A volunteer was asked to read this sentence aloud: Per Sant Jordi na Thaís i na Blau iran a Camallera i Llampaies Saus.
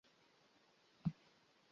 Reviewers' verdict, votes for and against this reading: rejected, 0, 2